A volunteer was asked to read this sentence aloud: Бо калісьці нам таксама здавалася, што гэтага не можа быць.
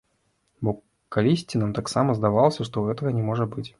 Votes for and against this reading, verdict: 1, 2, rejected